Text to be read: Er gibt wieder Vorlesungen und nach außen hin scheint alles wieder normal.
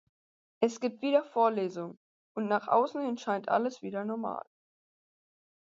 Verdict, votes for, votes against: accepted, 4, 0